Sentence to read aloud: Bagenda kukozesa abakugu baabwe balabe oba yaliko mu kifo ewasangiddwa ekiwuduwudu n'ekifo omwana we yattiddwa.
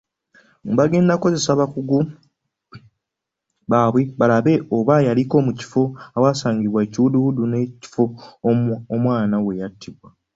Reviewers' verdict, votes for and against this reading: accepted, 2, 0